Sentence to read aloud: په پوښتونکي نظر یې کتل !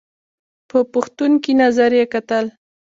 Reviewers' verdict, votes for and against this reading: accepted, 2, 0